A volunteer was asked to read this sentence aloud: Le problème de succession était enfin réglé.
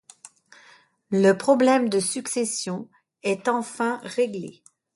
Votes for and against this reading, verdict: 2, 1, accepted